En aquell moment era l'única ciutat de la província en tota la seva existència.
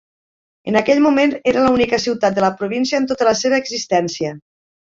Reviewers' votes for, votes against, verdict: 2, 1, accepted